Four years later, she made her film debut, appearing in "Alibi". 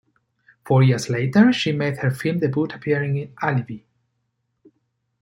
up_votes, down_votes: 3, 1